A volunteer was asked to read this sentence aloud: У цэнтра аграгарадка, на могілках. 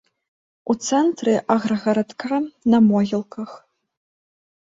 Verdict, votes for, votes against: accepted, 2, 0